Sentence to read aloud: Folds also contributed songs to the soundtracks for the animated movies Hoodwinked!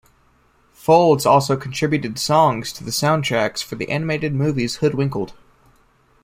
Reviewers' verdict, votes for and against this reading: rejected, 0, 2